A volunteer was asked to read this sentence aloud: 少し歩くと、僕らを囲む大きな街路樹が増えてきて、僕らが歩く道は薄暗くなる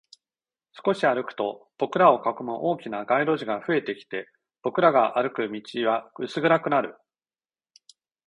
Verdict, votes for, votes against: accepted, 2, 0